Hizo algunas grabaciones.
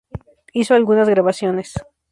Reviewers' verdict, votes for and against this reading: rejected, 0, 2